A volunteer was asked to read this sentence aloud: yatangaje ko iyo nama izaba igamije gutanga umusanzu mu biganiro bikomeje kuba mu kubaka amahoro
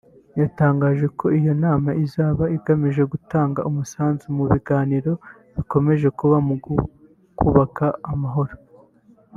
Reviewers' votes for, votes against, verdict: 1, 2, rejected